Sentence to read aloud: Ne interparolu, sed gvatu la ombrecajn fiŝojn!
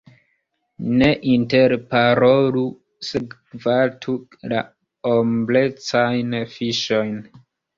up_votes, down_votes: 1, 2